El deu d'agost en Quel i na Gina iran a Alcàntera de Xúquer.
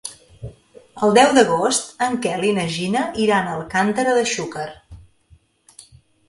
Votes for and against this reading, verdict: 2, 0, accepted